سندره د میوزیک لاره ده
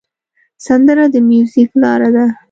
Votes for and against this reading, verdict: 2, 0, accepted